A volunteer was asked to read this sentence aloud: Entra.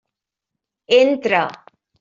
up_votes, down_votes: 3, 0